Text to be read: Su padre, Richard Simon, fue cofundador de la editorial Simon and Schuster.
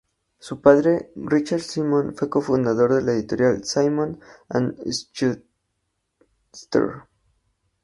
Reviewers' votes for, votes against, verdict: 0, 2, rejected